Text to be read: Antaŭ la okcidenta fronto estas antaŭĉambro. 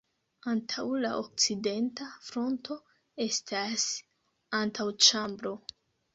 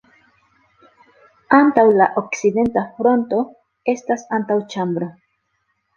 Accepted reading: second